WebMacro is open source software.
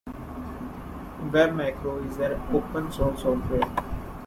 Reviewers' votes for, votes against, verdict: 2, 1, accepted